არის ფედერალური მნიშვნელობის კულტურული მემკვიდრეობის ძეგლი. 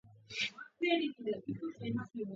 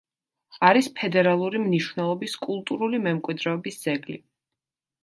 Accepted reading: second